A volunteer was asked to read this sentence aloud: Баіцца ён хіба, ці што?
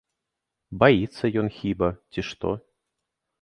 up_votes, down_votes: 1, 2